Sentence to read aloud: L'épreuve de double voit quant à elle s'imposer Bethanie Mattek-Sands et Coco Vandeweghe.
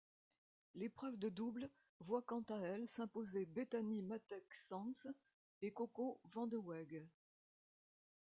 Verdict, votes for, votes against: rejected, 1, 2